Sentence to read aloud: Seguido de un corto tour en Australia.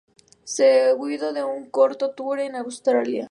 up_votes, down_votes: 0, 2